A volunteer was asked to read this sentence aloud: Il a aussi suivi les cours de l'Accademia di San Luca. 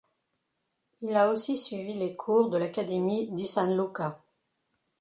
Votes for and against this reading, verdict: 1, 2, rejected